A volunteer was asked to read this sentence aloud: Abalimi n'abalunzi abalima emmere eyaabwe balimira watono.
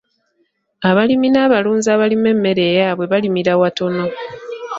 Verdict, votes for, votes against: accepted, 2, 0